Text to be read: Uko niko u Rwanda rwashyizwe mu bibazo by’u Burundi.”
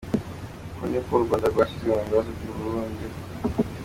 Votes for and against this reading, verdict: 2, 0, accepted